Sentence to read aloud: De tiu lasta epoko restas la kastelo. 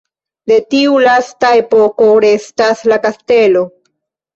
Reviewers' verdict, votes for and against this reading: rejected, 1, 2